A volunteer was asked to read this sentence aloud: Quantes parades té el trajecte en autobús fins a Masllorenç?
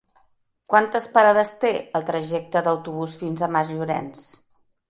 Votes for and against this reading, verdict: 0, 2, rejected